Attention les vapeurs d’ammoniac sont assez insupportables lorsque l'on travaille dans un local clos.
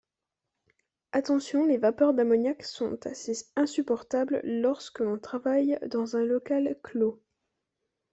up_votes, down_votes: 2, 0